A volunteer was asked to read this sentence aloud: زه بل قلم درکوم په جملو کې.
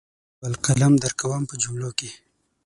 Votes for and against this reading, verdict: 3, 6, rejected